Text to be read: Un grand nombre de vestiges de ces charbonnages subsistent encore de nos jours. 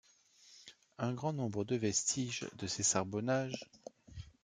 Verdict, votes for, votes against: rejected, 0, 2